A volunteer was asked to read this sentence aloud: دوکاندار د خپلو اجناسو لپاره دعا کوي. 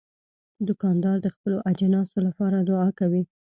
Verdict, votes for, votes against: rejected, 0, 2